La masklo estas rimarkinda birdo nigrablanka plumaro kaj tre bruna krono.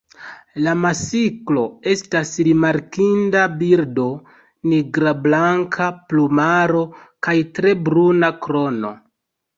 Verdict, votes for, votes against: rejected, 2, 3